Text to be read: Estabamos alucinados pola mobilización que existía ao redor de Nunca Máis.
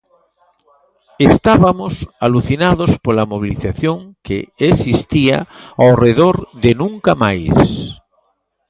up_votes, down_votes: 0, 2